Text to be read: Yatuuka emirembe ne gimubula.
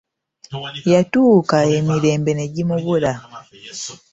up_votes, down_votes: 2, 0